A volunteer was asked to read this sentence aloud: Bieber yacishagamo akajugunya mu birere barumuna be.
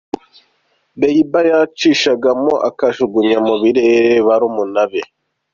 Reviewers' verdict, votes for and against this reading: accepted, 2, 0